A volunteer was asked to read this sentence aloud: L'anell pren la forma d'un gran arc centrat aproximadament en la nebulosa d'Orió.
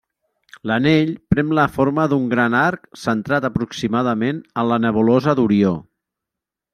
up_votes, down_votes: 3, 0